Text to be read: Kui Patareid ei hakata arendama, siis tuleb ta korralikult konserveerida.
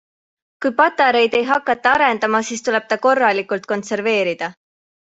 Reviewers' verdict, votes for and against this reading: accepted, 2, 0